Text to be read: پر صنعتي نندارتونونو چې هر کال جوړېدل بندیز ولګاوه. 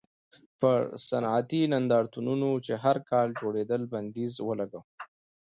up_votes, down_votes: 2, 0